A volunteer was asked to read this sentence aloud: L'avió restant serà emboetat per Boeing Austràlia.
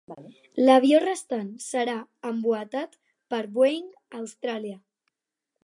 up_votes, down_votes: 4, 0